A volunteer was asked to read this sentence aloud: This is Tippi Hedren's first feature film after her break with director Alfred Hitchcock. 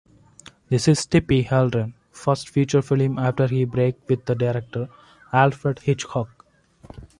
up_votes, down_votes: 0, 2